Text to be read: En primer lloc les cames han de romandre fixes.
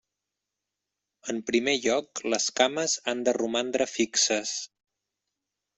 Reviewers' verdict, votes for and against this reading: accepted, 3, 0